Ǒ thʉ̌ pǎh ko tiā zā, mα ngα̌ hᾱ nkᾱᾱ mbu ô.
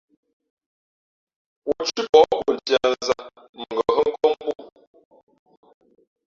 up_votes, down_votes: 0, 3